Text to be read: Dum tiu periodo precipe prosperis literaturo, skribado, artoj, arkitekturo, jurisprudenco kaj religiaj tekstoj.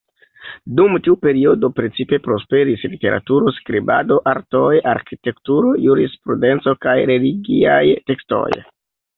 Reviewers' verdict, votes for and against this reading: rejected, 0, 2